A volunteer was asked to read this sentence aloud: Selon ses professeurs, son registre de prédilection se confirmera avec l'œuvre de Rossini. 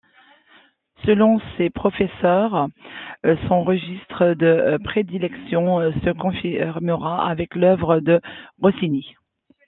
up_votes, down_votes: 0, 2